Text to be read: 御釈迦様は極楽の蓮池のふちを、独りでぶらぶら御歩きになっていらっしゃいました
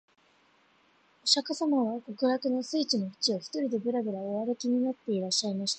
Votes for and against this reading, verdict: 3, 0, accepted